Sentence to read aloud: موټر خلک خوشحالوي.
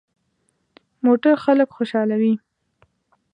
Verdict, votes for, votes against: accepted, 2, 0